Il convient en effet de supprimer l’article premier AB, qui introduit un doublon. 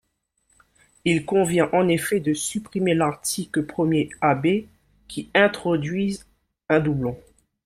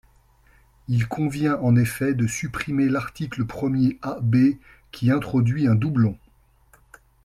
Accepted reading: second